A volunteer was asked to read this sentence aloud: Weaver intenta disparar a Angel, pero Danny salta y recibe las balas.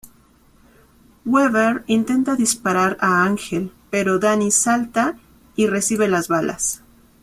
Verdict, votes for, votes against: accepted, 2, 0